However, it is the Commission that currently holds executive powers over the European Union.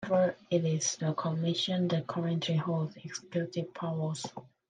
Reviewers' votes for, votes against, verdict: 0, 2, rejected